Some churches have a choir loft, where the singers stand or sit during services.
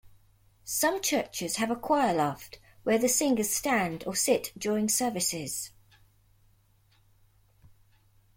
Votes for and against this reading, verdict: 2, 0, accepted